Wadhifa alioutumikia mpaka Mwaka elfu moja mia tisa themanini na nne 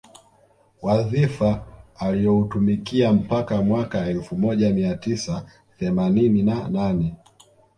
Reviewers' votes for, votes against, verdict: 1, 2, rejected